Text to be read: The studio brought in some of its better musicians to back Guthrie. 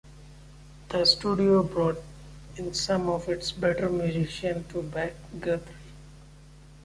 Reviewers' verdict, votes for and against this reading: rejected, 1, 2